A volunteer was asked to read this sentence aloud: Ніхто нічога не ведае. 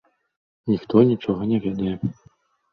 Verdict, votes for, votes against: accepted, 3, 1